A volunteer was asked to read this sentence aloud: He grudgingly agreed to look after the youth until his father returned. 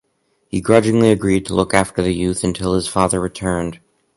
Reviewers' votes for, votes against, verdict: 4, 0, accepted